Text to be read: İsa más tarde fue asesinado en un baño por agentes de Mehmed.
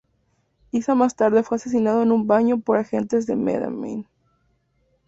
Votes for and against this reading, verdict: 2, 0, accepted